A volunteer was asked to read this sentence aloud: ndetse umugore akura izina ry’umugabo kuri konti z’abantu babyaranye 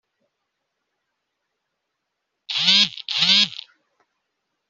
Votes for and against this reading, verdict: 0, 2, rejected